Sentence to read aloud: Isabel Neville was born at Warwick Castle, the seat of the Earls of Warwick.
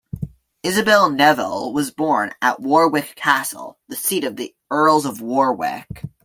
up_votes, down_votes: 2, 1